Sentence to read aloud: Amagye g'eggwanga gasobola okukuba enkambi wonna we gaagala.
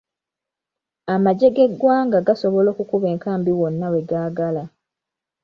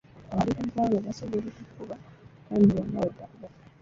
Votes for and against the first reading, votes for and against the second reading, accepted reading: 2, 0, 0, 2, first